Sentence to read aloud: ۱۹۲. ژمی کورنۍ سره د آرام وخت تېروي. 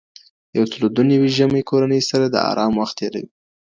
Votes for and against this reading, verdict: 0, 2, rejected